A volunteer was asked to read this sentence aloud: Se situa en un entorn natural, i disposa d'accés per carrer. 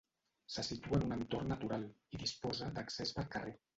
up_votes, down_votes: 0, 2